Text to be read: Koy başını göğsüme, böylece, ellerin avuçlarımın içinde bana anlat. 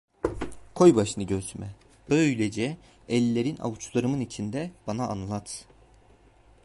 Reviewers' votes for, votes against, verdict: 2, 0, accepted